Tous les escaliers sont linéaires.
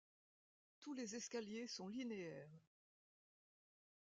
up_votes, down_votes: 2, 0